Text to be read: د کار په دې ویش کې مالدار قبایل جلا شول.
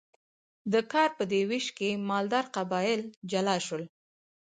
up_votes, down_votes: 4, 0